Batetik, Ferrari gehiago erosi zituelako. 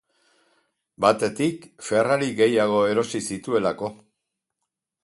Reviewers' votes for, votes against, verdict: 4, 0, accepted